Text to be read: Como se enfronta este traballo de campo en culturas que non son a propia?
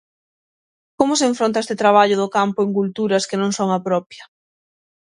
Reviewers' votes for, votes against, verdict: 3, 6, rejected